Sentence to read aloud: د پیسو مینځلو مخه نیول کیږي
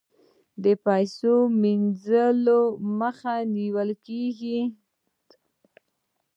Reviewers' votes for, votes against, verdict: 2, 0, accepted